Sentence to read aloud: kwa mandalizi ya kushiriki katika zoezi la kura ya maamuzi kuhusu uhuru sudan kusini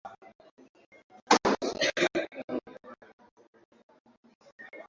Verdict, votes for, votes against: rejected, 0, 2